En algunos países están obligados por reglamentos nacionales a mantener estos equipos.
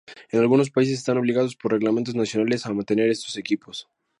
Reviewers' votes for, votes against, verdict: 4, 0, accepted